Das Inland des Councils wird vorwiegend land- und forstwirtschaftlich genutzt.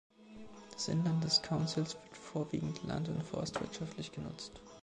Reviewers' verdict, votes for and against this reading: accepted, 2, 0